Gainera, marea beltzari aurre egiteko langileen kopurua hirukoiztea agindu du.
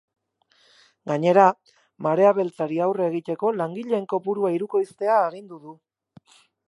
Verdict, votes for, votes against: rejected, 4, 8